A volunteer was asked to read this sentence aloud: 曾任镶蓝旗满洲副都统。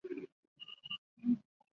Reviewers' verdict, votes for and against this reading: rejected, 0, 2